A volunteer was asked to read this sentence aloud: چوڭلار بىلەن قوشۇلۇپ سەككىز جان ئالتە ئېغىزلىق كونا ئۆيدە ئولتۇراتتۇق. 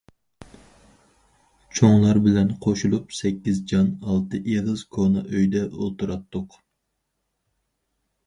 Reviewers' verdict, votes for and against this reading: rejected, 0, 4